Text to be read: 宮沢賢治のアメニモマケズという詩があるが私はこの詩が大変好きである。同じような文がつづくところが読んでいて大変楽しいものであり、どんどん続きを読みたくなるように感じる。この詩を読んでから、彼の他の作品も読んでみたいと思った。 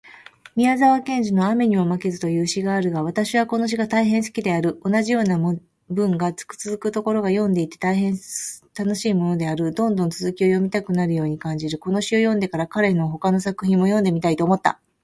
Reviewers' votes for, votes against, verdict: 2, 0, accepted